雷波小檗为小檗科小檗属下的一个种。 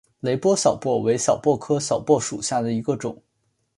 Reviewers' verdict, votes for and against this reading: accepted, 2, 1